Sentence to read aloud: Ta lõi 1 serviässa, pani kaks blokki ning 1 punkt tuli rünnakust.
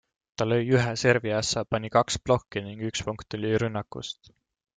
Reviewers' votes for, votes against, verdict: 0, 2, rejected